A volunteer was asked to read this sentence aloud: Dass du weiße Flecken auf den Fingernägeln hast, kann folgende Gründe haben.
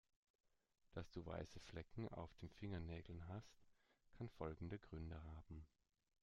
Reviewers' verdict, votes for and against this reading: rejected, 0, 2